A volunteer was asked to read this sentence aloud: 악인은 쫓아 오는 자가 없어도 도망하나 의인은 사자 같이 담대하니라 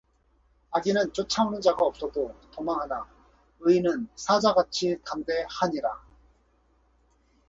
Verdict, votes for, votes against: rejected, 2, 2